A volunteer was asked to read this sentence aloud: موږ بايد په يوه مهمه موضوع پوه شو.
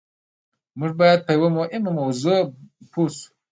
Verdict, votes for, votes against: accepted, 2, 0